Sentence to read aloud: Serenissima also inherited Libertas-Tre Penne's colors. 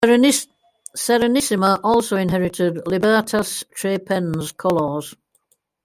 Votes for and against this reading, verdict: 0, 2, rejected